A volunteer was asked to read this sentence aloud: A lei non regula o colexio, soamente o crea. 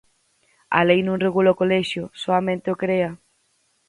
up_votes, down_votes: 4, 0